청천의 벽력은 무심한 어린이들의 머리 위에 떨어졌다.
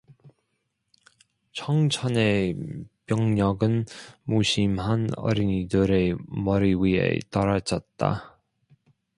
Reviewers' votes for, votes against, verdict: 0, 2, rejected